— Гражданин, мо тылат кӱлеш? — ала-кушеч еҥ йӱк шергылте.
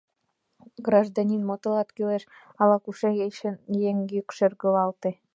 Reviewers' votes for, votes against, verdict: 1, 2, rejected